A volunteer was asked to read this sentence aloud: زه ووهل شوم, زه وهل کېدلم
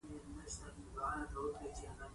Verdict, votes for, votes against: rejected, 1, 2